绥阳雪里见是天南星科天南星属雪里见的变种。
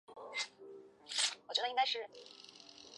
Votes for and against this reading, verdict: 0, 5, rejected